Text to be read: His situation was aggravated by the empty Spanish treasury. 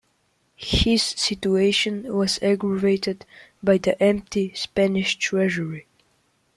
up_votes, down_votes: 2, 0